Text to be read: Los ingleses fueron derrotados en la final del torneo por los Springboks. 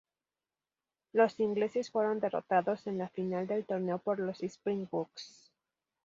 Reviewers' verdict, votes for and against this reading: accepted, 2, 0